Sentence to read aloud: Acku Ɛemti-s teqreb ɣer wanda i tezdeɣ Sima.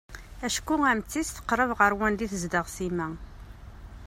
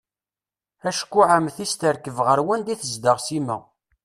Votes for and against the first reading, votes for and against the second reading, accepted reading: 2, 0, 1, 2, first